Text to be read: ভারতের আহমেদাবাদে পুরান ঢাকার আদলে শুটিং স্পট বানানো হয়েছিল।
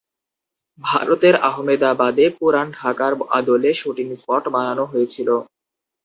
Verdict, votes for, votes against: accepted, 4, 0